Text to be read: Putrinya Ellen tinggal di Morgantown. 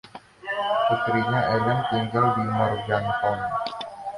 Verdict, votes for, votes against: rejected, 1, 2